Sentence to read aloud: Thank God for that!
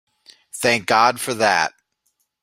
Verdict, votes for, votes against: accepted, 2, 0